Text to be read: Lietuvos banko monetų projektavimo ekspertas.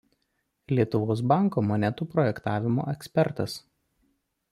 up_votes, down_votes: 2, 0